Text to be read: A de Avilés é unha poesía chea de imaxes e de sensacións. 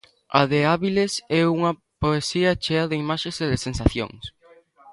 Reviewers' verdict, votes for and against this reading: rejected, 0, 2